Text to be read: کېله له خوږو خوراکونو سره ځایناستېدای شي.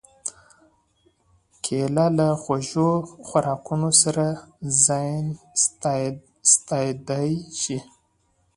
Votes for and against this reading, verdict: 2, 0, accepted